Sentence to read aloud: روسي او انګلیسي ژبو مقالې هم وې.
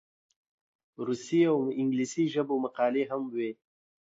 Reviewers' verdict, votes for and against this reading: accepted, 2, 1